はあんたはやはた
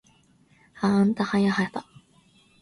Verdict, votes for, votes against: rejected, 0, 2